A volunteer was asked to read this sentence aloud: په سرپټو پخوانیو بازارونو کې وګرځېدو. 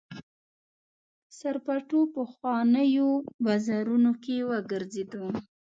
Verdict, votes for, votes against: rejected, 1, 2